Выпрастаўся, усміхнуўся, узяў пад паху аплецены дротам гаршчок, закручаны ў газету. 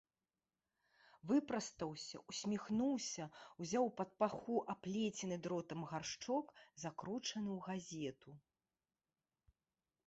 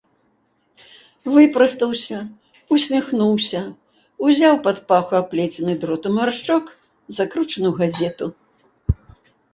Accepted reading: second